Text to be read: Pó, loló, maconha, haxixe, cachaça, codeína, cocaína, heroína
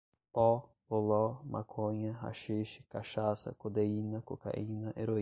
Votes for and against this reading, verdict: 5, 5, rejected